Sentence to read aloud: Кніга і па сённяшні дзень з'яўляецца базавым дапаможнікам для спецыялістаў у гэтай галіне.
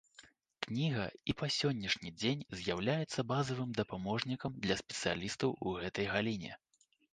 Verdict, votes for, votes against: accepted, 2, 0